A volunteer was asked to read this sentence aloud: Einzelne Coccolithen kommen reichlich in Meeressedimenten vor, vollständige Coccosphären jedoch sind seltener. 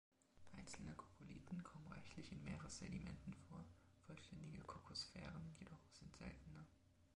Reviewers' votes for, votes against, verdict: 0, 2, rejected